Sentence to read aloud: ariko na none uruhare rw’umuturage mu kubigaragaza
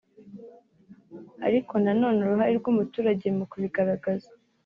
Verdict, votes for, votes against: accepted, 2, 0